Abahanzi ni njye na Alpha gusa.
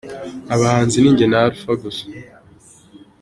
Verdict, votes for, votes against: rejected, 1, 3